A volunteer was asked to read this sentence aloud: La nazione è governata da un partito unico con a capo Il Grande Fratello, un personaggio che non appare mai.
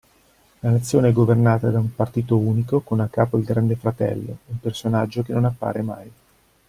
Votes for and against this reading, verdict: 2, 0, accepted